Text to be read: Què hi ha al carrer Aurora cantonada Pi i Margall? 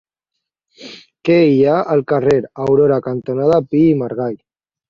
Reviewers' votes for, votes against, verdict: 2, 0, accepted